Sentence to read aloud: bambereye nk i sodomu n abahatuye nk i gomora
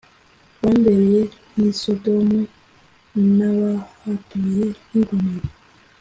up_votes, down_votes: 2, 0